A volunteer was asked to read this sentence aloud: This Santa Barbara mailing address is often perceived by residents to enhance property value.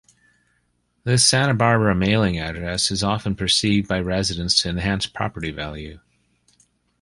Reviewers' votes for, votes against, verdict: 2, 0, accepted